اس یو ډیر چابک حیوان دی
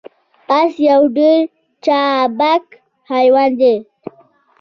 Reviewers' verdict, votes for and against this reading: rejected, 0, 2